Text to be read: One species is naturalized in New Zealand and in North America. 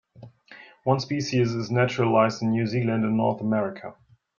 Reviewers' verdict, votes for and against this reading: rejected, 1, 2